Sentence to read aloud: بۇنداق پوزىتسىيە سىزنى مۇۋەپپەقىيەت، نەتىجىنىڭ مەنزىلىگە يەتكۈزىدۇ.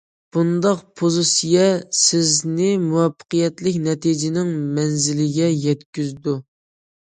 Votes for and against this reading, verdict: 0, 2, rejected